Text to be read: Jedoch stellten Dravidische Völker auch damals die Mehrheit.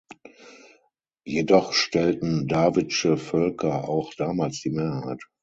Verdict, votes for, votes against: rejected, 3, 6